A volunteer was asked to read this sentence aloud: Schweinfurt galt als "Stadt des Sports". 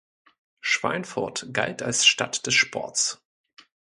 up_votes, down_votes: 2, 0